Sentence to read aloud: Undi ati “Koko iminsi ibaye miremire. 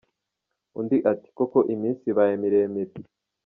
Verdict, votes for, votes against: accepted, 2, 0